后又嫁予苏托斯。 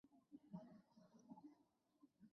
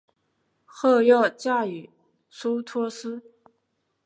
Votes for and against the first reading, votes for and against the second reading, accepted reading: 0, 2, 3, 0, second